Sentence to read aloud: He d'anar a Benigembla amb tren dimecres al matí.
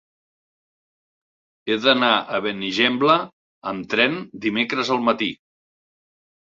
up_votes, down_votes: 6, 0